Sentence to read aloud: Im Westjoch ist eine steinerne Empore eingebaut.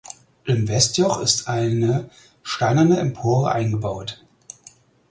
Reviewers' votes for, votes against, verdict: 4, 0, accepted